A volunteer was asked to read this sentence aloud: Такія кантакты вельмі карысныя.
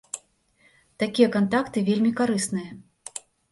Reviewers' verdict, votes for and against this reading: accepted, 2, 0